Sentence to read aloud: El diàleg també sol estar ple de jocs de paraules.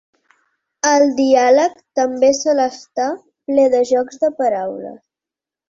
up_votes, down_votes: 4, 0